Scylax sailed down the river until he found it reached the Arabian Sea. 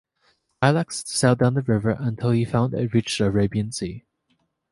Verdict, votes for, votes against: rejected, 2, 3